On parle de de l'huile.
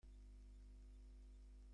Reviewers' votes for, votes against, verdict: 0, 2, rejected